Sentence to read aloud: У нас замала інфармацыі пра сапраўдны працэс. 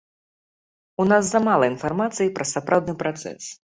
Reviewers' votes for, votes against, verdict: 2, 0, accepted